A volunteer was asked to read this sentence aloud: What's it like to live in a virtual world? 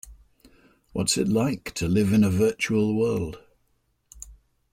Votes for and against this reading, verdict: 2, 0, accepted